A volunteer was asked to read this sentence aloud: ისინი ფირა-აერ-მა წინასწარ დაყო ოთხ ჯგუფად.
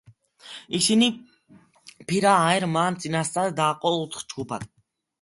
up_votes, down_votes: 2, 0